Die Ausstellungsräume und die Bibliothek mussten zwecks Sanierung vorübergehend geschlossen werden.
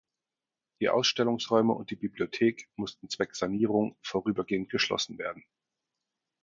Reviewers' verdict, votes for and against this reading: accepted, 4, 2